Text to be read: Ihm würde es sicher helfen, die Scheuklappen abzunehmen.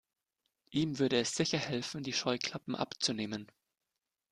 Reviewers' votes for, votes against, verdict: 2, 0, accepted